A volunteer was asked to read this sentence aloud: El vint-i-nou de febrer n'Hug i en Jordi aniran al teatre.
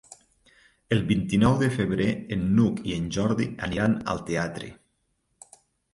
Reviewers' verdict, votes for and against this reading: rejected, 2, 3